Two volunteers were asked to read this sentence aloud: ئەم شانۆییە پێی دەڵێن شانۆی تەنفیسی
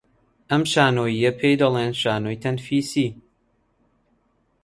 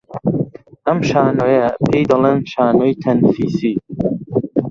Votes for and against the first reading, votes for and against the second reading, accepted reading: 2, 0, 0, 2, first